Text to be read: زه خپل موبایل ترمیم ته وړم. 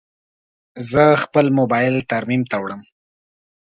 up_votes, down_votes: 2, 0